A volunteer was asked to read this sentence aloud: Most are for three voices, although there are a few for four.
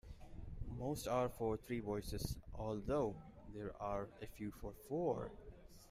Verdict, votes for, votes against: accepted, 2, 0